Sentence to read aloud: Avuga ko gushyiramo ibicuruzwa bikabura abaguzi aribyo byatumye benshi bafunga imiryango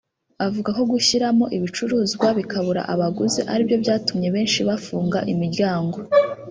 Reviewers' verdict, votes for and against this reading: rejected, 0, 2